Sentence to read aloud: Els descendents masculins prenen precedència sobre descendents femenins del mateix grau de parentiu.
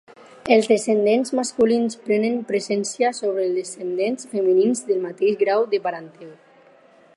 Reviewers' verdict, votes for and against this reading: rejected, 0, 4